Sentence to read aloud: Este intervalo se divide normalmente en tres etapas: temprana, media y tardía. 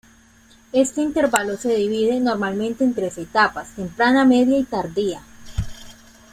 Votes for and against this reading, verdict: 2, 0, accepted